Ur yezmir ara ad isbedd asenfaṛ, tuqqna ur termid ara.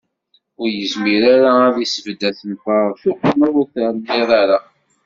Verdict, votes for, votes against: rejected, 0, 2